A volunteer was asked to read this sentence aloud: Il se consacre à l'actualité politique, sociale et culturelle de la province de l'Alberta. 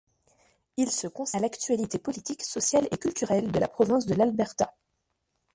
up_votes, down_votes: 1, 2